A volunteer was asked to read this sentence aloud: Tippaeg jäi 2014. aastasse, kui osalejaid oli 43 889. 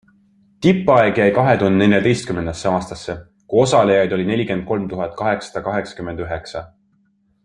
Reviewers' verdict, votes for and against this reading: rejected, 0, 2